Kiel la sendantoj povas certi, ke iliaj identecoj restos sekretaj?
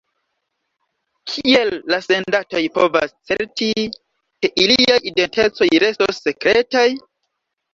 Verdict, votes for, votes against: accepted, 2, 0